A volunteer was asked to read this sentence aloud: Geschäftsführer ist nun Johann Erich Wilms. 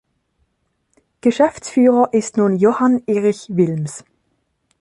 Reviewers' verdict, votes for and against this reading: accepted, 2, 0